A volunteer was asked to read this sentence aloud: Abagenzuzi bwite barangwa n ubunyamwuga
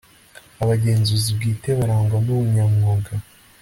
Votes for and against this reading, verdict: 2, 0, accepted